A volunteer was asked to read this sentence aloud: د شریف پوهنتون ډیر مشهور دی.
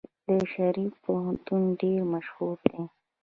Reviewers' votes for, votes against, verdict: 2, 0, accepted